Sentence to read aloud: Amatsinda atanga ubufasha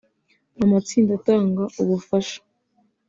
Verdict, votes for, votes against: accepted, 2, 0